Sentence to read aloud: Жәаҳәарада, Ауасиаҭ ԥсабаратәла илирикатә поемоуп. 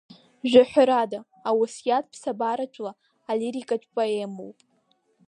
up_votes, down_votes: 1, 3